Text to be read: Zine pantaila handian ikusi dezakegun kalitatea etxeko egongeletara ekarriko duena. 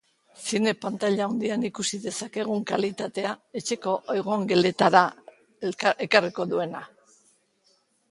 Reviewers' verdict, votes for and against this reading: rejected, 1, 2